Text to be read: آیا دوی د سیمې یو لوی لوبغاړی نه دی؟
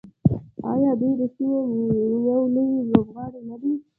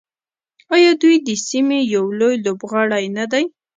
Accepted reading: second